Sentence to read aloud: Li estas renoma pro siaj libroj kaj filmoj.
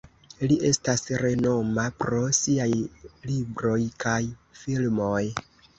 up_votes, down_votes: 1, 2